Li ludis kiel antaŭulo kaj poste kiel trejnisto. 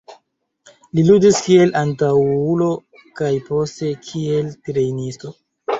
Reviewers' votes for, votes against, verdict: 2, 0, accepted